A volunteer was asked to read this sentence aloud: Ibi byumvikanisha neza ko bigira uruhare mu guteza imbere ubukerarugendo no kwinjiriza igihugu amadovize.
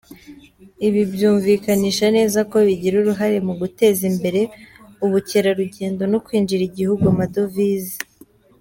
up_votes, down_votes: 1, 2